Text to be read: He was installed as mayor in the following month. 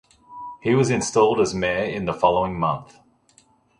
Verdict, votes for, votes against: accepted, 2, 0